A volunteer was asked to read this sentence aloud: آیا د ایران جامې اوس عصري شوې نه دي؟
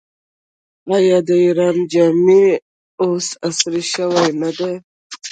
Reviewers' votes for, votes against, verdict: 1, 2, rejected